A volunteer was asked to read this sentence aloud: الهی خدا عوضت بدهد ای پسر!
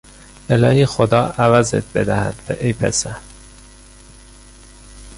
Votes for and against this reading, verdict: 0, 2, rejected